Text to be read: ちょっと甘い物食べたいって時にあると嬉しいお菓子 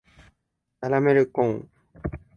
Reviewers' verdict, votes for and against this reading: rejected, 2, 3